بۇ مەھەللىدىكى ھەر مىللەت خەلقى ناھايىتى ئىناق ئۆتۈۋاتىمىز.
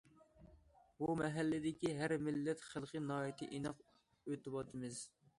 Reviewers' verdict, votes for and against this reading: accepted, 2, 0